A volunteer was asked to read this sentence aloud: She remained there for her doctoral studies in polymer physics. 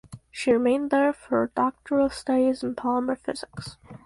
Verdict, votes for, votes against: accepted, 4, 0